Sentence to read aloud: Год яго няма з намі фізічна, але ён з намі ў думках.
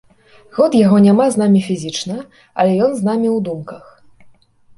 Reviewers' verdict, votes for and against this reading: accepted, 2, 0